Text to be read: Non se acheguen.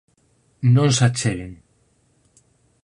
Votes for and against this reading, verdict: 4, 0, accepted